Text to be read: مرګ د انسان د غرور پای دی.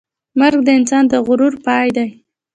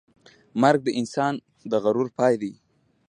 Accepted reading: second